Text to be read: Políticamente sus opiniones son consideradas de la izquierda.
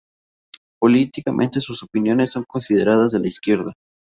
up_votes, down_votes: 2, 0